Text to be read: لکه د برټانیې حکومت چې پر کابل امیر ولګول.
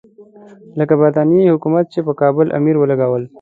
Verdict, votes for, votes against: accepted, 2, 0